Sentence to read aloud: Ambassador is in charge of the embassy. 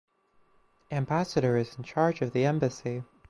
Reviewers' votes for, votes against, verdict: 4, 2, accepted